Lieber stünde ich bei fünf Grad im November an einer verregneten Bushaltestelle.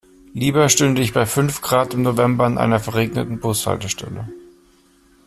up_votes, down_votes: 2, 0